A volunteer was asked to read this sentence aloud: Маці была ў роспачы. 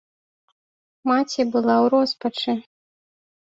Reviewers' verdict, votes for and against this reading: accepted, 2, 0